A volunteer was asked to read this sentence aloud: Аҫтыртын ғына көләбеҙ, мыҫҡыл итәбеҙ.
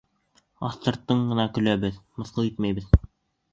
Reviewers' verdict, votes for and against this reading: rejected, 1, 2